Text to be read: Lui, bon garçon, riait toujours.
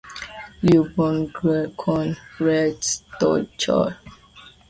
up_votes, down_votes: 0, 2